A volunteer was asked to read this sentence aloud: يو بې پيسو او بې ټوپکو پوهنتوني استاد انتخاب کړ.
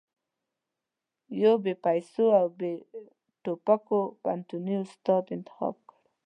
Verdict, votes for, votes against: accepted, 2, 0